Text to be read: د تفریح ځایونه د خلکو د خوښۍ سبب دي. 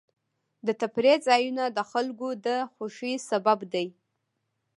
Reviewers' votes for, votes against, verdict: 2, 1, accepted